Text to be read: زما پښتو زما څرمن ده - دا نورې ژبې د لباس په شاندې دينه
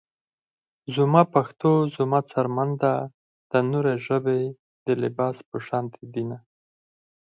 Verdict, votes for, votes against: accepted, 4, 0